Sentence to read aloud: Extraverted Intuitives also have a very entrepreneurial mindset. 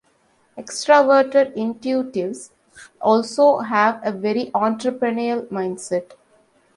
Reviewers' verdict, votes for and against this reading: accepted, 2, 1